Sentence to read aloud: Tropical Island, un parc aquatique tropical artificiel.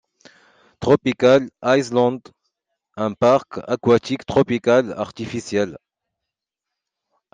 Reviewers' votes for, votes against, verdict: 2, 0, accepted